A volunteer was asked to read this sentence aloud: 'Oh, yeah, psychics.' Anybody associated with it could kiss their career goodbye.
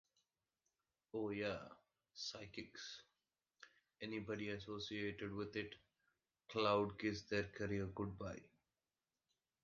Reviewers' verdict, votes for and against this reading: rejected, 1, 2